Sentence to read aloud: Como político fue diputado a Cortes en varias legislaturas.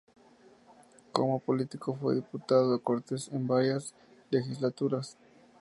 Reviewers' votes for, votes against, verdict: 2, 0, accepted